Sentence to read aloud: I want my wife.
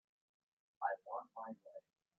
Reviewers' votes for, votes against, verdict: 1, 2, rejected